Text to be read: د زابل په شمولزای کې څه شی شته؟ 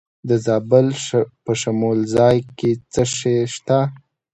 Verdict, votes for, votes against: accepted, 2, 0